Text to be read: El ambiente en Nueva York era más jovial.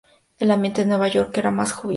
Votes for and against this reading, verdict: 0, 2, rejected